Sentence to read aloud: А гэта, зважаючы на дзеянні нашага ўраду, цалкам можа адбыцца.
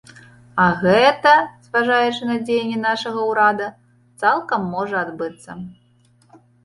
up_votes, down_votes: 1, 2